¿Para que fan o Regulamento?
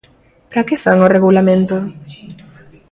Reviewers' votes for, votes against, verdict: 2, 0, accepted